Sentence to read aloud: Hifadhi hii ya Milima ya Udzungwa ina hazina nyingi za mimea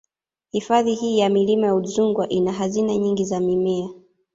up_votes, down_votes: 1, 2